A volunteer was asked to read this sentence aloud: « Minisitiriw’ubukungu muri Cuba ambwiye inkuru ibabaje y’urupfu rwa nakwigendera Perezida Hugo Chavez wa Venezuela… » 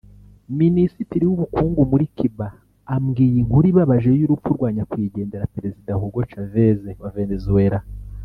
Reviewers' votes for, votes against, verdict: 1, 2, rejected